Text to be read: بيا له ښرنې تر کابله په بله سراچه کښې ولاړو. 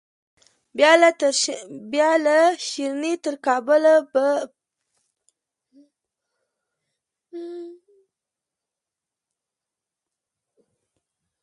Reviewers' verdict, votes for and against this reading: accepted, 2, 1